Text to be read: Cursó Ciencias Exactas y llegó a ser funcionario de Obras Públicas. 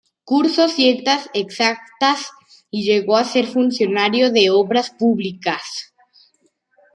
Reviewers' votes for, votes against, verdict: 0, 2, rejected